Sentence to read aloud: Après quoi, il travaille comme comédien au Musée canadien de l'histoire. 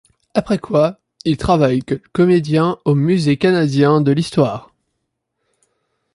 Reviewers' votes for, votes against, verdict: 1, 2, rejected